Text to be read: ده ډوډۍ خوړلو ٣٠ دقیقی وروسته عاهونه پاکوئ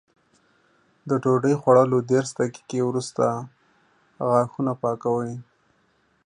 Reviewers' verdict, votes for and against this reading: rejected, 0, 2